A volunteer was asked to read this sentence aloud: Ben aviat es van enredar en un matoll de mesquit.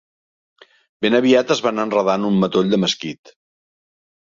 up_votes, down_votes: 2, 1